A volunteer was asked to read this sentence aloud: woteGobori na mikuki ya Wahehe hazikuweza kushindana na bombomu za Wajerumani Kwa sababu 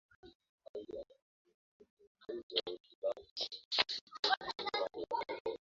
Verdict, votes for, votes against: rejected, 0, 2